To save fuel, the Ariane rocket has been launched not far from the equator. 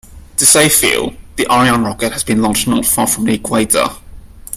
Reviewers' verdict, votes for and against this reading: accepted, 2, 0